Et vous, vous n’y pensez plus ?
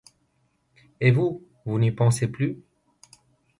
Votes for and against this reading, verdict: 2, 0, accepted